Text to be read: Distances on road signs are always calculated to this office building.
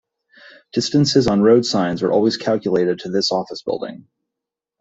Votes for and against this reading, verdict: 2, 0, accepted